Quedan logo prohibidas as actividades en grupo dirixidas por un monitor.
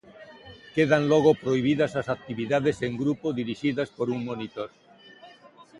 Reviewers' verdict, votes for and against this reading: accepted, 2, 0